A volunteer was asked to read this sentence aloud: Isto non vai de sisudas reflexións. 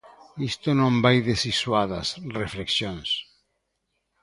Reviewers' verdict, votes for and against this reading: rejected, 1, 2